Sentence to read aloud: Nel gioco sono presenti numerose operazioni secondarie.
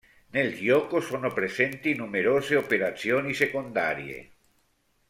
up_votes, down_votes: 0, 2